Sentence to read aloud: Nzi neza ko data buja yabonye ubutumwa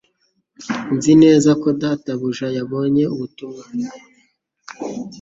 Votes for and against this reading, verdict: 2, 0, accepted